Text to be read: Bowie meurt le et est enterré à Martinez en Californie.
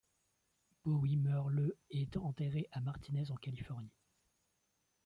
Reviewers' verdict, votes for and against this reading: accepted, 2, 0